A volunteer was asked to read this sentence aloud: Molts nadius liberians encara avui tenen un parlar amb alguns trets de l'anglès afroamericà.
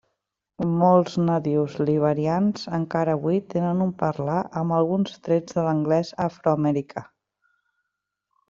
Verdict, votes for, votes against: accepted, 2, 0